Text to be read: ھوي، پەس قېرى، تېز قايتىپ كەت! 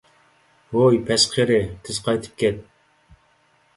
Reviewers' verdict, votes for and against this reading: accepted, 2, 0